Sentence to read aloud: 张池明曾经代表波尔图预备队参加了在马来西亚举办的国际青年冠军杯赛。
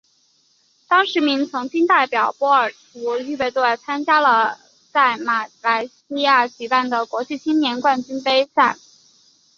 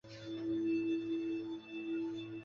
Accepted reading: first